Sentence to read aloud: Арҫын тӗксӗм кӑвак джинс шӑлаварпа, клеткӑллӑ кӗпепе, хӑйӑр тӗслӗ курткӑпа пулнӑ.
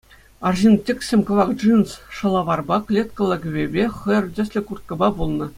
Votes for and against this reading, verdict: 2, 0, accepted